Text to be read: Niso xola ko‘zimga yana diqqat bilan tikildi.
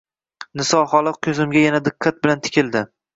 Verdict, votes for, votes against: accepted, 2, 0